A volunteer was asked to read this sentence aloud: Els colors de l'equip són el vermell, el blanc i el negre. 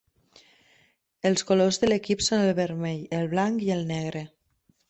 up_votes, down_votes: 3, 0